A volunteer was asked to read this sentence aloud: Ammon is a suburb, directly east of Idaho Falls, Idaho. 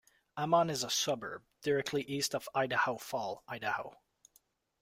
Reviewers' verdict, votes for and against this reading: rejected, 0, 2